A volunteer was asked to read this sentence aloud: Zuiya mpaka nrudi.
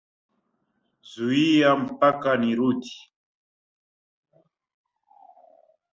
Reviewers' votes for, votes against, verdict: 1, 2, rejected